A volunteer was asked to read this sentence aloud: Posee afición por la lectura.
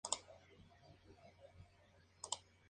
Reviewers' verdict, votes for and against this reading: rejected, 0, 4